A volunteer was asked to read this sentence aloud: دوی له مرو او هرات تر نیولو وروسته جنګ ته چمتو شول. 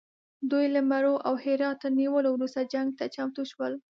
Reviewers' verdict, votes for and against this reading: accepted, 2, 0